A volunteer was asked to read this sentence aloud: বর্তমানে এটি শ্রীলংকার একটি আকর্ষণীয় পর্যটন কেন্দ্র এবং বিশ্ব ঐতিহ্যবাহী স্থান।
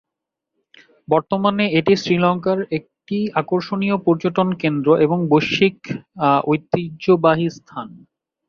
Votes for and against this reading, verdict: 1, 3, rejected